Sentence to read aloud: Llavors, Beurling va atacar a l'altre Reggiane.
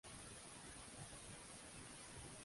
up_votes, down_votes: 0, 2